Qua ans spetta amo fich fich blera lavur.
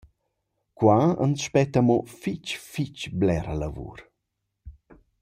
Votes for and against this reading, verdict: 2, 0, accepted